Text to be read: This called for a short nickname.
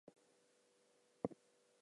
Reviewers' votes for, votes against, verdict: 0, 2, rejected